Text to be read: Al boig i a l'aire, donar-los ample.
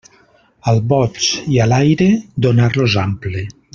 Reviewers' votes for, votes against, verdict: 3, 0, accepted